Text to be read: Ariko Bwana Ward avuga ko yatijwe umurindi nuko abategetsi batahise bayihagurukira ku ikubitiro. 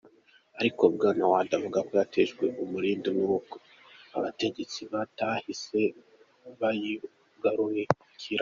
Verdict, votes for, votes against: rejected, 1, 2